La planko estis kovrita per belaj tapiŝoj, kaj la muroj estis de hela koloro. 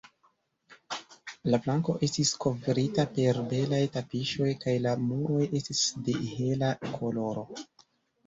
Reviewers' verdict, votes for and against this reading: rejected, 0, 2